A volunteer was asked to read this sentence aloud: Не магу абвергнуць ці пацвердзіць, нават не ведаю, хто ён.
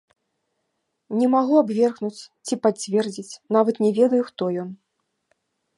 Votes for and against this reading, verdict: 3, 0, accepted